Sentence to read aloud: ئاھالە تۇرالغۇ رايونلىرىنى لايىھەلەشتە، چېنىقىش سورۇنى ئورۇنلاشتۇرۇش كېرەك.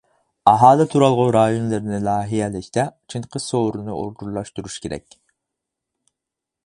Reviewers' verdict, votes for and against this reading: rejected, 0, 4